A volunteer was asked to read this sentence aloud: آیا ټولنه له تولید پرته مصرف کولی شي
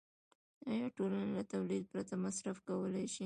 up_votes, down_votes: 2, 0